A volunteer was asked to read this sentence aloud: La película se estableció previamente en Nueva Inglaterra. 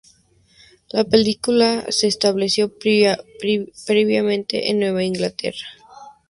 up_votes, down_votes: 0, 2